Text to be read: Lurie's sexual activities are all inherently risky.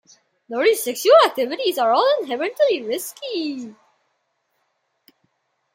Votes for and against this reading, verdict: 2, 1, accepted